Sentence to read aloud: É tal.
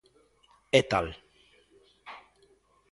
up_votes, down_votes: 2, 0